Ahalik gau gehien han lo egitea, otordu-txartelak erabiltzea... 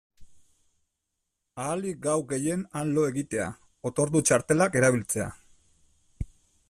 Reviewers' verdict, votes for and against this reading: accepted, 2, 0